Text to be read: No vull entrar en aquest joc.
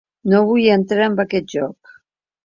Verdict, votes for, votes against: accepted, 2, 0